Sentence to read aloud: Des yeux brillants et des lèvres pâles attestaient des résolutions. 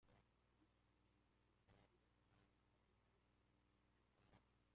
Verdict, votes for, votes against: rejected, 0, 2